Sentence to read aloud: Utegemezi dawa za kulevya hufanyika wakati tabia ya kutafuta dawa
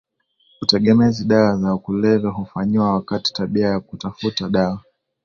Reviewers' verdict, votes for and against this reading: accepted, 2, 0